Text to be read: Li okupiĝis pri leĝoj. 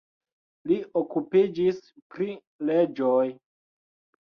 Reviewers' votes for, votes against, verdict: 2, 0, accepted